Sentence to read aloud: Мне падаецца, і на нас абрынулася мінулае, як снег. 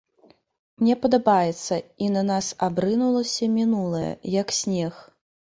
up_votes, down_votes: 1, 2